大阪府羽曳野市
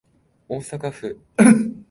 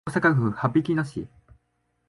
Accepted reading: second